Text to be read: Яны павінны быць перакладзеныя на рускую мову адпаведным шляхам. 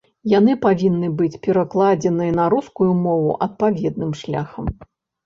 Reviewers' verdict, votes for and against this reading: accepted, 2, 0